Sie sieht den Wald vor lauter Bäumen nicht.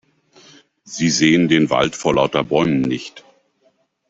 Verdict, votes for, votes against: rejected, 0, 2